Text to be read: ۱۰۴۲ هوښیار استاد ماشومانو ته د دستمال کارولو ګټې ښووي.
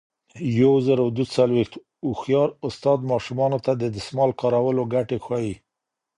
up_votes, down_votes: 0, 2